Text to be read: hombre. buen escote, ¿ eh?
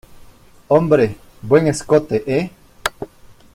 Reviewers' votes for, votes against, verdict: 2, 0, accepted